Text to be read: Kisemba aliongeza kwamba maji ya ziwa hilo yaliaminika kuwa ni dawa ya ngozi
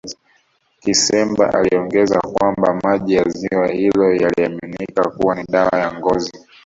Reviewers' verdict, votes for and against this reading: rejected, 0, 2